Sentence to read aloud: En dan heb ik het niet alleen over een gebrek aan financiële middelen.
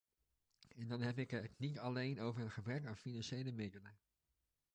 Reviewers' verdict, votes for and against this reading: rejected, 1, 2